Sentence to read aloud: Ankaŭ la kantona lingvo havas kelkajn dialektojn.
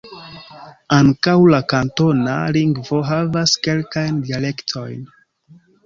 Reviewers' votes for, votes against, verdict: 2, 0, accepted